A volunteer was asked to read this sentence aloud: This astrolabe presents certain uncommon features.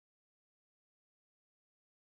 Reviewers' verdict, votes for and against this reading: rejected, 0, 2